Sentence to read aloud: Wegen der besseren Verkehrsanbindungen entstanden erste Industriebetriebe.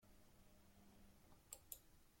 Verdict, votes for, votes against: rejected, 0, 2